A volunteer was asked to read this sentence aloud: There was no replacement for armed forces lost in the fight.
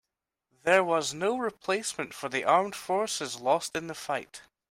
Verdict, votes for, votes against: rejected, 0, 2